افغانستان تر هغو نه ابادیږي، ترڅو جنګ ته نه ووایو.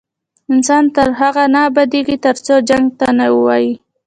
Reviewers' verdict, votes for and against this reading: rejected, 1, 2